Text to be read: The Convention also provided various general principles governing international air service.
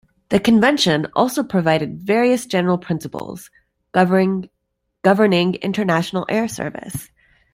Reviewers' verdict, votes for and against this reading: rejected, 1, 2